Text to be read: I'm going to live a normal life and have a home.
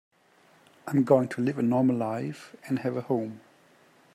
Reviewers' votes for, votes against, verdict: 2, 0, accepted